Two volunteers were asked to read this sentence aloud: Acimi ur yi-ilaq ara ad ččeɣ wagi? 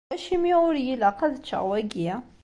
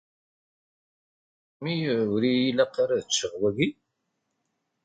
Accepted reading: first